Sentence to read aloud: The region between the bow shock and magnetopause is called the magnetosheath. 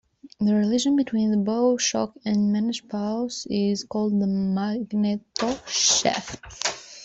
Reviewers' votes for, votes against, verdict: 2, 1, accepted